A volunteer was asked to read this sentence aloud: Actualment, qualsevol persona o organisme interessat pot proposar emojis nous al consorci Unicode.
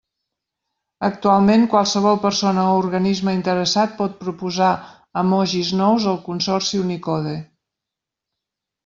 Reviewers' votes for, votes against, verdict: 2, 1, accepted